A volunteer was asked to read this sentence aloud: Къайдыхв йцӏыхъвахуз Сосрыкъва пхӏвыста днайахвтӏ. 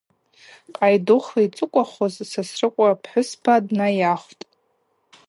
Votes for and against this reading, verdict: 0, 2, rejected